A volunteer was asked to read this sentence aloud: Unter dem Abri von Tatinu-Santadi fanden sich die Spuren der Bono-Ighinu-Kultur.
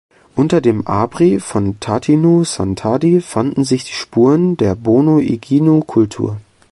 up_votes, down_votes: 2, 0